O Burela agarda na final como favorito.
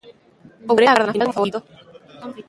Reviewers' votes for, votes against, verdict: 0, 2, rejected